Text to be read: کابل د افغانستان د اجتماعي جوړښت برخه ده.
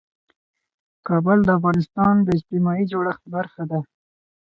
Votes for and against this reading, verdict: 0, 2, rejected